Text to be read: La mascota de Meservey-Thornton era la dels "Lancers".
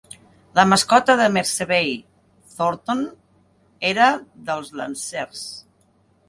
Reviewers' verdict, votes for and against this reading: rejected, 1, 3